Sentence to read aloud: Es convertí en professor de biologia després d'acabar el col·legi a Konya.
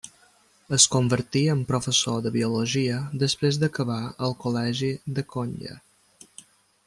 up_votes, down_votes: 0, 2